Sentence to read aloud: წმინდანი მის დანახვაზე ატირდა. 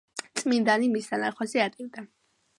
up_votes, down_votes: 2, 0